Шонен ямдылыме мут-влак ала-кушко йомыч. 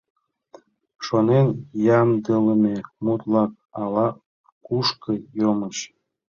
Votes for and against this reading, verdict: 2, 0, accepted